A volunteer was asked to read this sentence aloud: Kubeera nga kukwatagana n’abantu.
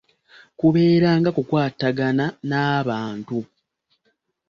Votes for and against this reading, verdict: 0, 2, rejected